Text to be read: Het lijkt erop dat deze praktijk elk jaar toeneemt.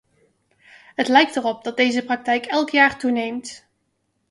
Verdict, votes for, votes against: accepted, 2, 0